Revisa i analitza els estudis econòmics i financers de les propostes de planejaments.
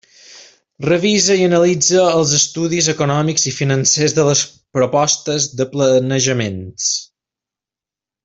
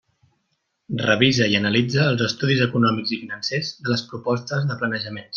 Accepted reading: second